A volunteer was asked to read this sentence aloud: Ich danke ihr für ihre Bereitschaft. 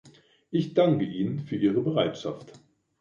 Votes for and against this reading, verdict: 0, 2, rejected